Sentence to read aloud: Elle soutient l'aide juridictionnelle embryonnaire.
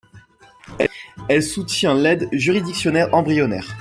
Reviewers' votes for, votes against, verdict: 1, 2, rejected